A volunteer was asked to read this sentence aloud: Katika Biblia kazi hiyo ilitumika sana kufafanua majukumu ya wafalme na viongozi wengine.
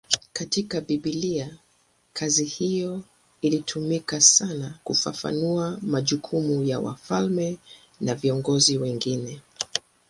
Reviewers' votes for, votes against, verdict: 2, 0, accepted